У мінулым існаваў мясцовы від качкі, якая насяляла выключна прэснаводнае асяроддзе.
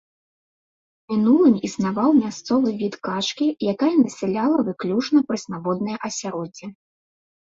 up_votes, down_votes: 0, 2